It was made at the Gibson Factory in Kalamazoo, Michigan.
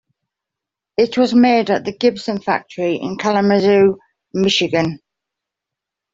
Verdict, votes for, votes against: accepted, 2, 0